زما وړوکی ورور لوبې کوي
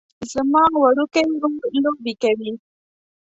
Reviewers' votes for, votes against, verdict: 1, 2, rejected